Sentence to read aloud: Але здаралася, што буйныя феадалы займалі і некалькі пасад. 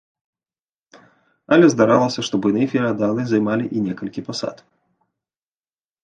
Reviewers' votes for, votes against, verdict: 0, 2, rejected